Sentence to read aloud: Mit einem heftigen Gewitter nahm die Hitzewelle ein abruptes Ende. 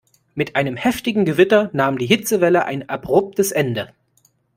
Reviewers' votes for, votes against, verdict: 2, 0, accepted